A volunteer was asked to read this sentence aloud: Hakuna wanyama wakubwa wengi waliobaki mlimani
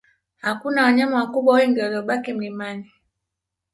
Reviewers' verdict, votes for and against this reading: accepted, 2, 0